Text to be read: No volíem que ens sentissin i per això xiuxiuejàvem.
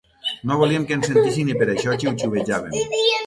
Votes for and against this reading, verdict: 3, 6, rejected